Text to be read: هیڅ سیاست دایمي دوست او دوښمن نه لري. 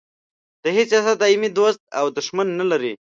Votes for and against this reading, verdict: 1, 2, rejected